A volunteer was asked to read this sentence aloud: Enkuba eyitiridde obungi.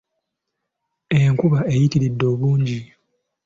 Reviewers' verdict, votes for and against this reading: accepted, 4, 0